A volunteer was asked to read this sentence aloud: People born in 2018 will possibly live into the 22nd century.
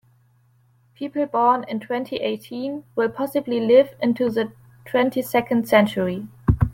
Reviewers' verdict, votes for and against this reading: rejected, 0, 2